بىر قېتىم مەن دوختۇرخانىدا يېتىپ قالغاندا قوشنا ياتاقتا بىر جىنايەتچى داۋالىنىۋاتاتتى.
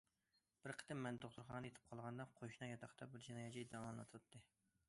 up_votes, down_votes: 0, 2